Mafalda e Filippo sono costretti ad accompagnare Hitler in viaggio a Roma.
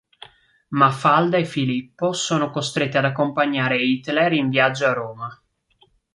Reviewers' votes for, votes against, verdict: 3, 0, accepted